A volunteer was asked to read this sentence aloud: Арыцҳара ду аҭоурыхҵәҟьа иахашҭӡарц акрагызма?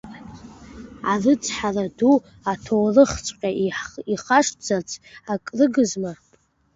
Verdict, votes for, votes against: rejected, 1, 2